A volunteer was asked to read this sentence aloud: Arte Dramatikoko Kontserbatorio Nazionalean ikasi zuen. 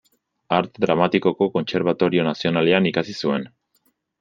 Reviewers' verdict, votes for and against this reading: accepted, 2, 0